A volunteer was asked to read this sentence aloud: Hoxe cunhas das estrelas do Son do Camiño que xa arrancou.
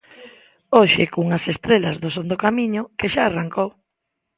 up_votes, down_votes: 0, 2